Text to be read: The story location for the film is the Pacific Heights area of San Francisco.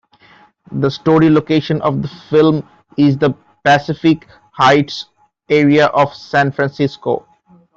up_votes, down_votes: 1, 2